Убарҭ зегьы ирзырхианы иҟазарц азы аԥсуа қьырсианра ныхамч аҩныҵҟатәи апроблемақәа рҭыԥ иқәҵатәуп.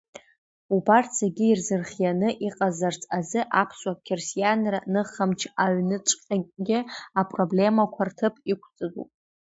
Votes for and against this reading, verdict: 2, 1, accepted